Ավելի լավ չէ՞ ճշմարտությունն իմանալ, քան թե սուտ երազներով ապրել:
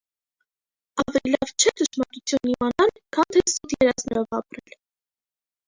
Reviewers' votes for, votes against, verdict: 0, 2, rejected